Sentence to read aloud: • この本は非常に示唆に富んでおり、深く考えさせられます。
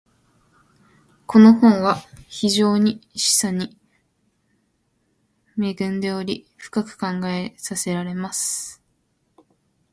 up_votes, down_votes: 1, 2